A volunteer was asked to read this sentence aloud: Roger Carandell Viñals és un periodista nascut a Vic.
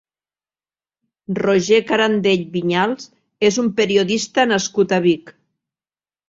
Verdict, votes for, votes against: accepted, 2, 0